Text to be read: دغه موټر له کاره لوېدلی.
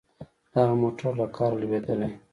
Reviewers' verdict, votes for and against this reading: accepted, 2, 0